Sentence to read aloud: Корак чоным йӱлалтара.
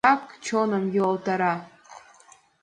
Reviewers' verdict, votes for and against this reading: rejected, 0, 2